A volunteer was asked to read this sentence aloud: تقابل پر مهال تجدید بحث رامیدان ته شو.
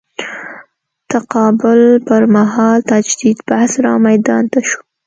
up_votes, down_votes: 2, 0